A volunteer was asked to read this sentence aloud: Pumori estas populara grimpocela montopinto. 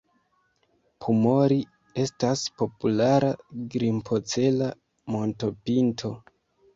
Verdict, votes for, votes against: accepted, 2, 1